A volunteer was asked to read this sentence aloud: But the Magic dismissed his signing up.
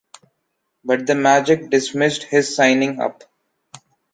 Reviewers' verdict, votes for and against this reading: accepted, 2, 0